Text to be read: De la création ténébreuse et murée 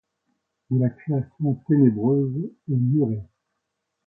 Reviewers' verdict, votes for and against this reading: accepted, 2, 1